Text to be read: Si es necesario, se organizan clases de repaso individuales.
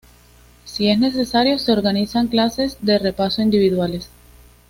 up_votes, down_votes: 2, 0